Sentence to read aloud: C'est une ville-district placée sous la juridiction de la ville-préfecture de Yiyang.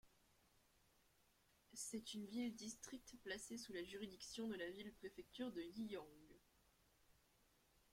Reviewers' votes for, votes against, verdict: 1, 2, rejected